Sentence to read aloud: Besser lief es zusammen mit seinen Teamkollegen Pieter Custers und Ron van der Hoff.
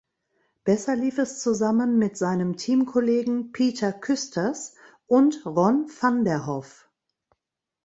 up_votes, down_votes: 0, 2